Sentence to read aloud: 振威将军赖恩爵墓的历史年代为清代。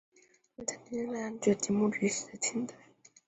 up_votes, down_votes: 0, 3